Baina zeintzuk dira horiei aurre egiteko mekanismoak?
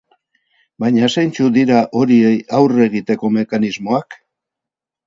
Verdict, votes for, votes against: rejected, 0, 2